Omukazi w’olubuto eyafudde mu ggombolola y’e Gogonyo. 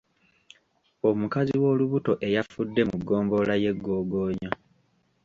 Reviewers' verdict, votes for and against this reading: accepted, 3, 0